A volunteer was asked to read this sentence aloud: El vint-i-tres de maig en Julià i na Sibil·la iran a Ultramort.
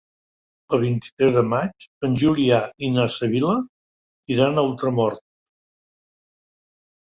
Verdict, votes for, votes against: accepted, 3, 0